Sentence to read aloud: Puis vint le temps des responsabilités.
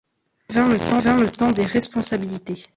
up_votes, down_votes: 0, 2